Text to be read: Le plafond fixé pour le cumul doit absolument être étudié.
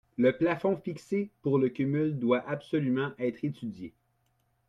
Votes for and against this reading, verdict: 2, 0, accepted